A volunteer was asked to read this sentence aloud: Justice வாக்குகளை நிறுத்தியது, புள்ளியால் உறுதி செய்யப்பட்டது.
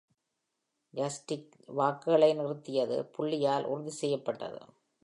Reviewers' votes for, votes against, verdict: 1, 2, rejected